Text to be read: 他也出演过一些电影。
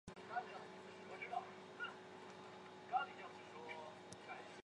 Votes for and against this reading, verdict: 0, 6, rejected